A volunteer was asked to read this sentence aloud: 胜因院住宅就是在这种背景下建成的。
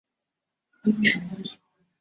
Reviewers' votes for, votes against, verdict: 2, 1, accepted